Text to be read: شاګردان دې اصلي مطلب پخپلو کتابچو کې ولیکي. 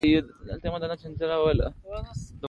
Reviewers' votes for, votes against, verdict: 2, 0, accepted